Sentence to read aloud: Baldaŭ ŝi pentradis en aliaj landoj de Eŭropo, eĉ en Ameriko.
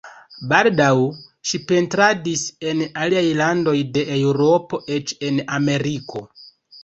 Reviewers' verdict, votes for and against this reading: rejected, 2, 3